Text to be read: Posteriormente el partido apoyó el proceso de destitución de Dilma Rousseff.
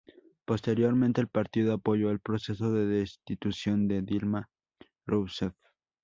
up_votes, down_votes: 0, 2